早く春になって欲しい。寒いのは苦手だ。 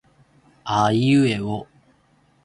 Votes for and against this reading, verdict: 1, 2, rejected